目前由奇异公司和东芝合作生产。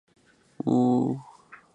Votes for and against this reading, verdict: 0, 2, rejected